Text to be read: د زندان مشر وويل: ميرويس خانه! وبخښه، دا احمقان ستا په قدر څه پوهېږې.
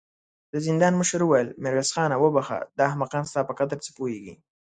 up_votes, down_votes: 2, 0